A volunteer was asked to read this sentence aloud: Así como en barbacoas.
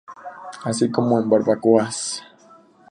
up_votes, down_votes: 2, 0